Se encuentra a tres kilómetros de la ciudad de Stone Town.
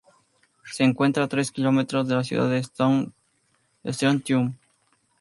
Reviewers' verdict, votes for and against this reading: rejected, 2, 2